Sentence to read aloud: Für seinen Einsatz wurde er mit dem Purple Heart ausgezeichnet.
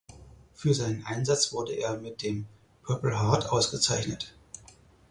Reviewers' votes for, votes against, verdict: 4, 0, accepted